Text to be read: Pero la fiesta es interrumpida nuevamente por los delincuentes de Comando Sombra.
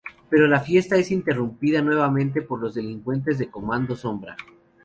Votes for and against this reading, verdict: 2, 0, accepted